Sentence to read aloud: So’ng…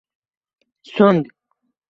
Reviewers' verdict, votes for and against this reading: rejected, 1, 2